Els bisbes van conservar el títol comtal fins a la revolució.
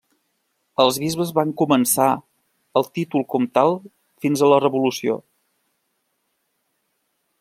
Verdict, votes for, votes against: rejected, 0, 2